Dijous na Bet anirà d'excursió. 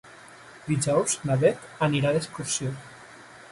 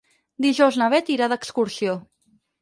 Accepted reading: first